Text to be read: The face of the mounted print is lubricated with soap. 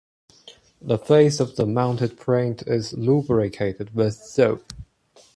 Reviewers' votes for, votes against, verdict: 2, 0, accepted